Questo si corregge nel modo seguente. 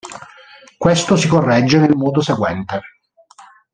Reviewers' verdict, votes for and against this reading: accepted, 2, 0